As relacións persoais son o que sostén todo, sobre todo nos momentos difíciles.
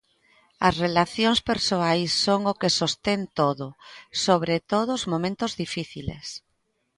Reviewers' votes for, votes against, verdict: 1, 2, rejected